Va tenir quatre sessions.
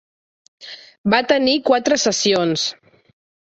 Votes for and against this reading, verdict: 6, 0, accepted